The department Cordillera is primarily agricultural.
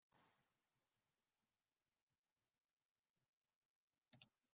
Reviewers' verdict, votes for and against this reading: rejected, 0, 2